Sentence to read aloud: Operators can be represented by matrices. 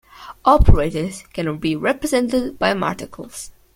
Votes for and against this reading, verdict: 0, 2, rejected